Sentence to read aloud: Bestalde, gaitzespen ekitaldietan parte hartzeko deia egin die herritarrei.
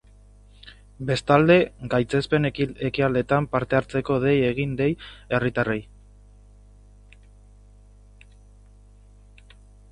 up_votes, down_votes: 0, 3